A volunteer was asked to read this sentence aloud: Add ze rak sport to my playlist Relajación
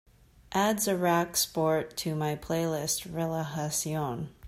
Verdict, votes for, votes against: accepted, 2, 0